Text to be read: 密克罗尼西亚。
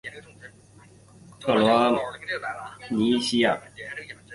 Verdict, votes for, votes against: rejected, 3, 4